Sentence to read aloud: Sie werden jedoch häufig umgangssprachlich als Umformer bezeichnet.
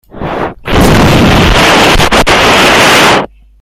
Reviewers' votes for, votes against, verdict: 0, 2, rejected